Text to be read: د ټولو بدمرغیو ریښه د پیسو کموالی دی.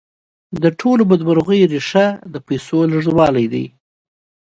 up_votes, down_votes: 1, 2